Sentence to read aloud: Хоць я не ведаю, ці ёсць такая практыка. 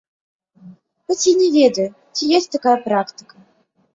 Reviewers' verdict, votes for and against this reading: accepted, 2, 0